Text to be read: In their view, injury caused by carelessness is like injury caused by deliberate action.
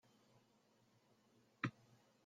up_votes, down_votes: 0, 2